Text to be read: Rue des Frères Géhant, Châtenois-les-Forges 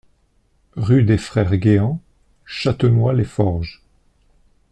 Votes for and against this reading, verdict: 2, 0, accepted